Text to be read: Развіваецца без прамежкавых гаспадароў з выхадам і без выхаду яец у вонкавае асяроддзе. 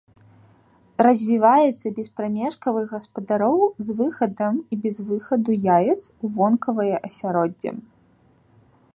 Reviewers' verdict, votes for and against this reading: accepted, 2, 1